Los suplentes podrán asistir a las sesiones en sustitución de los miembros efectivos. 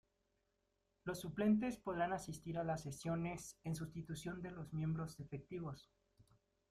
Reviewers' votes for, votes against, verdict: 2, 0, accepted